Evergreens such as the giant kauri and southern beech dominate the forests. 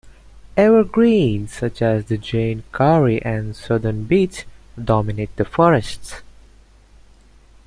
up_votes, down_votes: 1, 2